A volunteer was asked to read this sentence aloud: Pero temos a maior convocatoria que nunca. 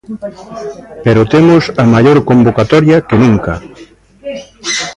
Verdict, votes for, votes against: rejected, 0, 2